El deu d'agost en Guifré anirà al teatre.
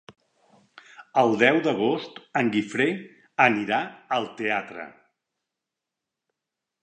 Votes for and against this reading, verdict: 3, 0, accepted